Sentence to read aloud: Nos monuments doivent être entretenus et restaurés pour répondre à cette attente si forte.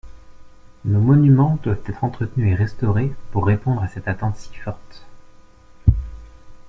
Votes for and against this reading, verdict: 2, 0, accepted